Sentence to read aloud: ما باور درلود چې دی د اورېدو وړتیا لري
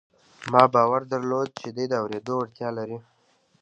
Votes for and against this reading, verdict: 2, 1, accepted